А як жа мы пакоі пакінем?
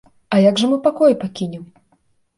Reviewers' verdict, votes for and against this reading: accepted, 2, 0